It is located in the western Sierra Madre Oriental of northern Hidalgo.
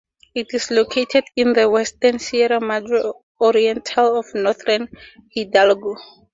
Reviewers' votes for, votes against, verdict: 4, 0, accepted